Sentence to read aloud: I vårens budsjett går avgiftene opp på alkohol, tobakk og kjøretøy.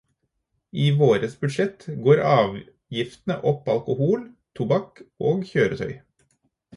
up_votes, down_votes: 2, 4